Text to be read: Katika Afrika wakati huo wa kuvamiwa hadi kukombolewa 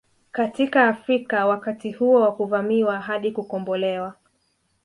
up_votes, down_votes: 2, 0